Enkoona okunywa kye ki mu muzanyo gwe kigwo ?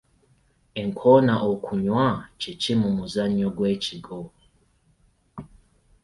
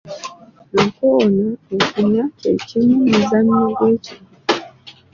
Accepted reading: first